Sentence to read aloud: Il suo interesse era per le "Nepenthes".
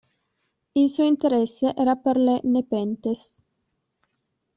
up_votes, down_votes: 0, 2